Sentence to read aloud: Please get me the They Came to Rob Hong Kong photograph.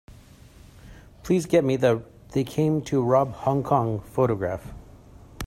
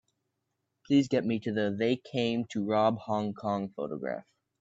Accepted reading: first